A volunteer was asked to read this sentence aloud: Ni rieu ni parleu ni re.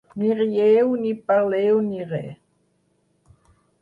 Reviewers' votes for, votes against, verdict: 6, 2, accepted